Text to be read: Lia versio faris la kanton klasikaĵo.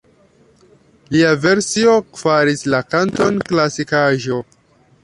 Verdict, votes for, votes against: rejected, 1, 2